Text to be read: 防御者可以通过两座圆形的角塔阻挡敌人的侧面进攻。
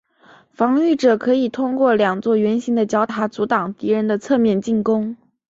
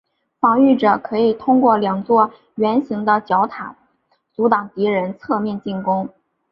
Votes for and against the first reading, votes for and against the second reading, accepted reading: 2, 0, 1, 2, first